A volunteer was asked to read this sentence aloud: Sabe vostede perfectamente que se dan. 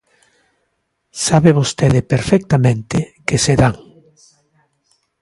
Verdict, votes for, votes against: accepted, 2, 0